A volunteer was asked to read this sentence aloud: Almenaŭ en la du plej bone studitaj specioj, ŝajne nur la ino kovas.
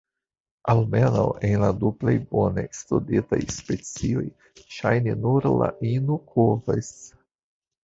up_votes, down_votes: 2, 0